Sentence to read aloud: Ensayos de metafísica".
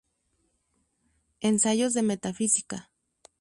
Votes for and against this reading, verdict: 2, 0, accepted